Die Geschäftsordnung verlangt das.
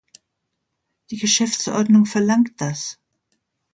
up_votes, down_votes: 2, 0